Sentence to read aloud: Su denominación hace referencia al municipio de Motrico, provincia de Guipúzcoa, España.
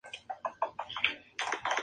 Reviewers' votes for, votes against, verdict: 2, 0, accepted